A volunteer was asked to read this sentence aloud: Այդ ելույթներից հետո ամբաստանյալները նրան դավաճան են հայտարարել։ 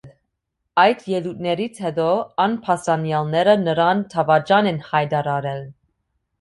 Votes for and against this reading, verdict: 2, 0, accepted